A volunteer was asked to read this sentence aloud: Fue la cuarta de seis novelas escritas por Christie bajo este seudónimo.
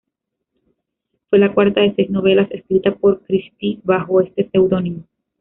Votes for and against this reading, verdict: 2, 3, rejected